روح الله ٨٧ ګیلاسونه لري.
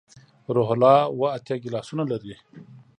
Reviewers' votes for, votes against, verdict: 0, 2, rejected